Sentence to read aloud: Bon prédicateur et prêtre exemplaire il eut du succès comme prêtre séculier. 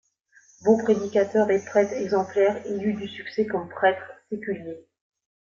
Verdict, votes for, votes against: rejected, 1, 2